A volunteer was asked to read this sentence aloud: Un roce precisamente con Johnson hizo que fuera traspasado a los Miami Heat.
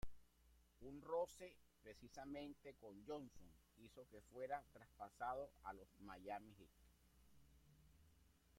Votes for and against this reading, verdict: 0, 2, rejected